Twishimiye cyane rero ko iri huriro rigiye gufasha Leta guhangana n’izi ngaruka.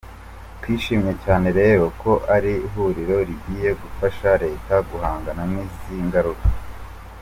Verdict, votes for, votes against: rejected, 0, 2